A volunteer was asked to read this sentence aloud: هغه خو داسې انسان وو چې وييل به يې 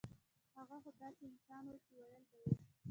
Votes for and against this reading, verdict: 1, 2, rejected